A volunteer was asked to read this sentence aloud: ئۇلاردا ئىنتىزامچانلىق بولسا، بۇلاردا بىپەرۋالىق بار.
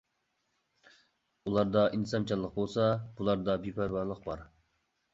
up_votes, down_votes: 2, 0